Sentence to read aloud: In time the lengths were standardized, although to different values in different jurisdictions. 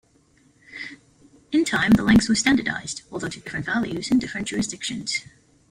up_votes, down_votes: 2, 1